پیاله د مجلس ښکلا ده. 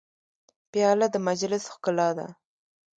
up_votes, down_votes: 2, 0